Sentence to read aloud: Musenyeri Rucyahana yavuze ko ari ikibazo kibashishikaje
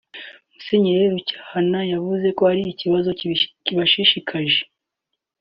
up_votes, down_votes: 2, 0